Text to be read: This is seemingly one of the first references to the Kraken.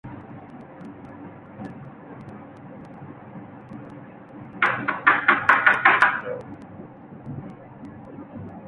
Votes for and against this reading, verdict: 0, 2, rejected